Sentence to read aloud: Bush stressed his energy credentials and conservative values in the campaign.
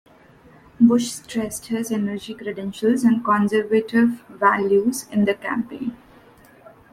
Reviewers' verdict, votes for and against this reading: accepted, 2, 0